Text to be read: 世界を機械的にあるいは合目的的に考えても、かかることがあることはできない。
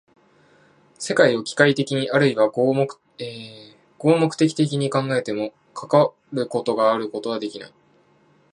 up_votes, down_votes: 0, 2